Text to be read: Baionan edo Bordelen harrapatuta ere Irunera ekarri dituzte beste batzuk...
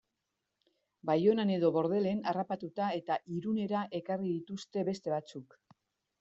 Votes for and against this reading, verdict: 1, 2, rejected